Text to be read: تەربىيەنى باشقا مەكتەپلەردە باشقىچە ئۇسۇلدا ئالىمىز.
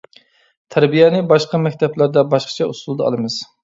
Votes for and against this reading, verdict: 2, 0, accepted